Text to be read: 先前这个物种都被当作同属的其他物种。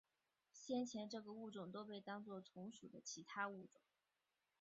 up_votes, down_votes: 0, 2